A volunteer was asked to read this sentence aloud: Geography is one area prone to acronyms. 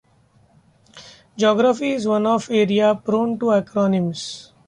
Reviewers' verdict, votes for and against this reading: rejected, 1, 2